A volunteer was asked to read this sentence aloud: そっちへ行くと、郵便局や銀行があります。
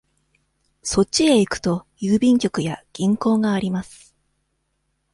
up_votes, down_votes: 2, 0